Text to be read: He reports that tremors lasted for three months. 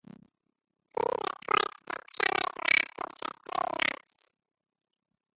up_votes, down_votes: 0, 2